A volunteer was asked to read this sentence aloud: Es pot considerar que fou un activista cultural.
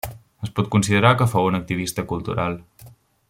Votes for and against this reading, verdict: 0, 2, rejected